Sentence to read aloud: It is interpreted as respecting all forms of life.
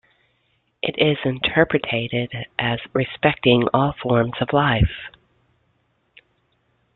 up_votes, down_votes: 0, 2